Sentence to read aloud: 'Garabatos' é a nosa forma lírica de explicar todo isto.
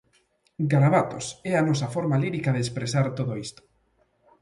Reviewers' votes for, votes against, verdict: 0, 2, rejected